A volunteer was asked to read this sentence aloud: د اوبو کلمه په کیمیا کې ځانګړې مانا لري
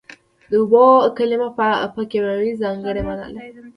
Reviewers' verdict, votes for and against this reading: rejected, 1, 2